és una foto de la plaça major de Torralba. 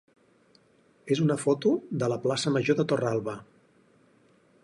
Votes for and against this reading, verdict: 4, 0, accepted